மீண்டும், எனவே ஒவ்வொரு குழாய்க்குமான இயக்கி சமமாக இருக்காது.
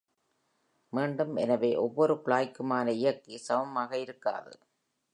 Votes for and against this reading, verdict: 6, 2, accepted